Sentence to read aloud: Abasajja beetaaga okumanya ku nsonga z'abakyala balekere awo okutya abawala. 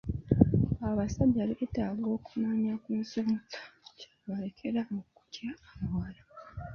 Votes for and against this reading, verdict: 0, 2, rejected